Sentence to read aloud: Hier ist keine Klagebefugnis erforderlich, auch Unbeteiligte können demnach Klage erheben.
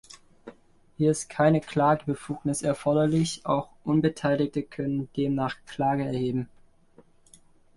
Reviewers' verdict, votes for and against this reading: accepted, 2, 1